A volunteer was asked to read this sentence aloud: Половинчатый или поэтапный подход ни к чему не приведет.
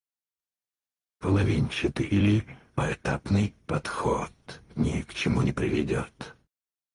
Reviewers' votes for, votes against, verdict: 0, 4, rejected